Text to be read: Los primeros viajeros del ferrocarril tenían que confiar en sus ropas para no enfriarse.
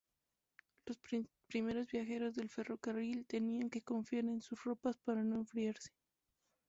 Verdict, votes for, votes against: rejected, 2, 4